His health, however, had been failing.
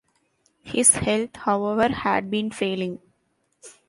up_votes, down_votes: 2, 1